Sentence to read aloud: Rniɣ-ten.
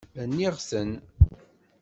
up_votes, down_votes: 2, 0